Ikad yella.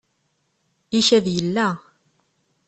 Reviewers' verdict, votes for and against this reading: rejected, 1, 2